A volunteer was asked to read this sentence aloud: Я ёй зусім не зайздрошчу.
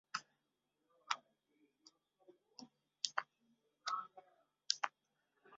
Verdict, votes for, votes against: rejected, 0, 2